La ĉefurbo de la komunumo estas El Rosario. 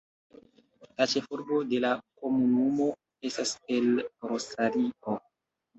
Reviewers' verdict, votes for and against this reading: accepted, 2, 1